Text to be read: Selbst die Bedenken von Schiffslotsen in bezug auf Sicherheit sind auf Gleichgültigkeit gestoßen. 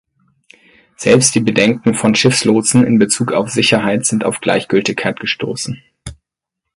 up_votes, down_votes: 4, 0